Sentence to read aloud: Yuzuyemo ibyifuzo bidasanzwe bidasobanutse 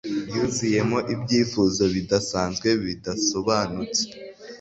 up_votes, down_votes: 3, 0